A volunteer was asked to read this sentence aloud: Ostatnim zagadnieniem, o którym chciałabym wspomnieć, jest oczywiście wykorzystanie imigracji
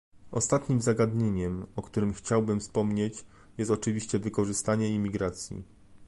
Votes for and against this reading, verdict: 1, 2, rejected